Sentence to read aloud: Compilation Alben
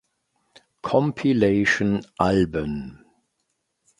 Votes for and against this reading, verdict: 2, 0, accepted